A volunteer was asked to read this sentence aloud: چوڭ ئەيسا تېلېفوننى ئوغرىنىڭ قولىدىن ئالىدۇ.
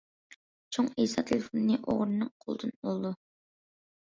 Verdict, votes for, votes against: rejected, 1, 2